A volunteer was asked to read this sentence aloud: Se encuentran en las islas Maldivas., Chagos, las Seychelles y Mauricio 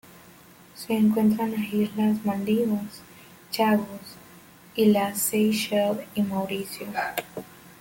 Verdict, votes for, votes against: rejected, 1, 2